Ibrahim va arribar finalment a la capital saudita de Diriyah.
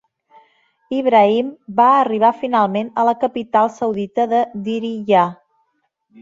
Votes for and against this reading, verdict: 2, 0, accepted